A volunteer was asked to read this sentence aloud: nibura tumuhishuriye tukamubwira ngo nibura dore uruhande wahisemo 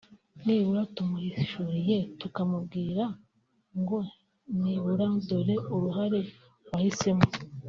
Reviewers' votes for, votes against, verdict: 0, 2, rejected